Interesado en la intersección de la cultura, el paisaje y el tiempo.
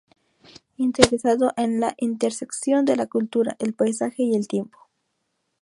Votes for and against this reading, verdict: 2, 0, accepted